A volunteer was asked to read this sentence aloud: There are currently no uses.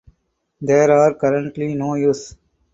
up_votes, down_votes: 0, 6